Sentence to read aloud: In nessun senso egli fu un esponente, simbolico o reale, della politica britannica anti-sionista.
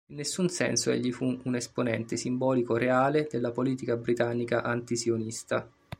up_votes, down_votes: 2, 1